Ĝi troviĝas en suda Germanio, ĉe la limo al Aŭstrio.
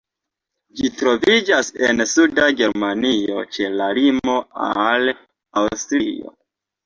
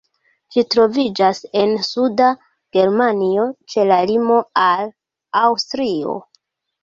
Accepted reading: first